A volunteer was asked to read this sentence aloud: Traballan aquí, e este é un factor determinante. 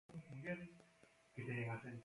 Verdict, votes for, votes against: rejected, 0, 2